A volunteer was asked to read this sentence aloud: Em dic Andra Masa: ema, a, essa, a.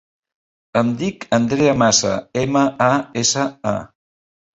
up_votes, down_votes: 0, 2